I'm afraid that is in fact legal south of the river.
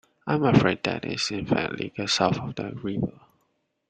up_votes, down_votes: 1, 2